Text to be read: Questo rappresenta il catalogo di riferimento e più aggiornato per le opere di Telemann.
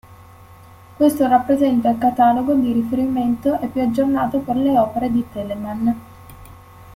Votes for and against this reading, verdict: 1, 2, rejected